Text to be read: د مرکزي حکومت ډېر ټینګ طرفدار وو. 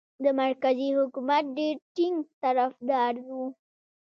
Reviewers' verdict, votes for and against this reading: rejected, 1, 2